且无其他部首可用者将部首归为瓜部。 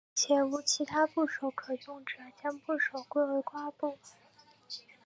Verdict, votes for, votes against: accepted, 4, 0